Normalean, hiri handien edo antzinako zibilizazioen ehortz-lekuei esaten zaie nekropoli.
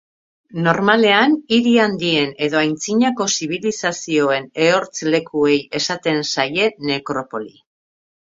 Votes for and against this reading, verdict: 2, 0, accepted